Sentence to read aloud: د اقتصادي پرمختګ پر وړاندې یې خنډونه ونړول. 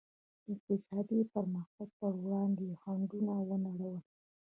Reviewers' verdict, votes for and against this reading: rejected, 1, 2